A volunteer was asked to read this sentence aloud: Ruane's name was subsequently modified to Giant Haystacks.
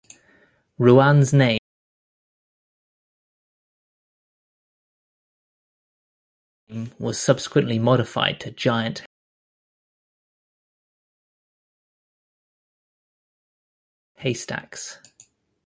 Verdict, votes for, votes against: rejected, 0, 2